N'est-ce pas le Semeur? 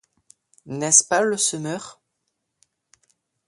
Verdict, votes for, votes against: accepted, 2, 0